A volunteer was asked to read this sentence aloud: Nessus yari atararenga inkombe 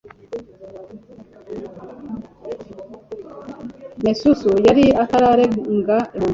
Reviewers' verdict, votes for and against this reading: rejected, 0, 2